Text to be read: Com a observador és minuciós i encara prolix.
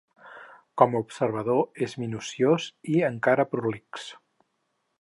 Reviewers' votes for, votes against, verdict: 4, 0, accepted